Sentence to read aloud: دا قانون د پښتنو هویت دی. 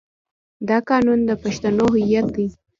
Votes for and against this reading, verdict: 2, 0, accepted